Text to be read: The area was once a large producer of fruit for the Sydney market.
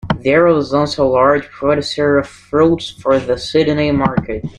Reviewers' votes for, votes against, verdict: 1, 2, rejected